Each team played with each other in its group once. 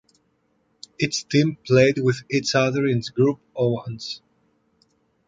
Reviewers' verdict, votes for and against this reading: rejected, 1, 2